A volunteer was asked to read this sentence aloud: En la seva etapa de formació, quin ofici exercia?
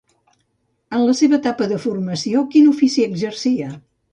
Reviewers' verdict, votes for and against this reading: accepted, 2, 0